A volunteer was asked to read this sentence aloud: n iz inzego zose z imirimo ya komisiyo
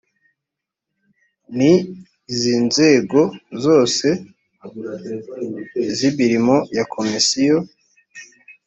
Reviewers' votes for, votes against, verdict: 2, 0, accepted